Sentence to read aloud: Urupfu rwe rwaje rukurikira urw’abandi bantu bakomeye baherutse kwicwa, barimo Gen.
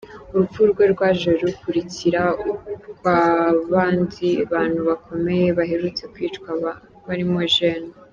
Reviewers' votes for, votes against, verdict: 0, 2, rejected